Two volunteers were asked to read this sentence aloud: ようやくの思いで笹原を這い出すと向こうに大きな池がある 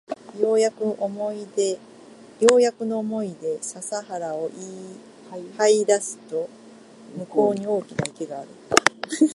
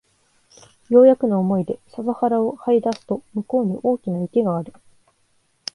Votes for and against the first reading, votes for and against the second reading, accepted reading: 0, 2, 2, 0, second